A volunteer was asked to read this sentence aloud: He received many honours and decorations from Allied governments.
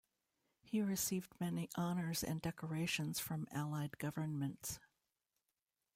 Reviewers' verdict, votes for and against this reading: accepted, 2, 0